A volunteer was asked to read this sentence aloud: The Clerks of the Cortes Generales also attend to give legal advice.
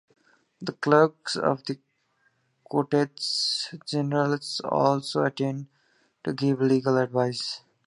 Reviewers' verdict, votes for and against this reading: accepted, 2, 1